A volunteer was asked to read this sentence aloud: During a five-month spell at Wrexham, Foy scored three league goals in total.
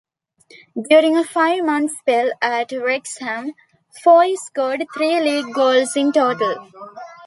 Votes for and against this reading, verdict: 2, 0, accepted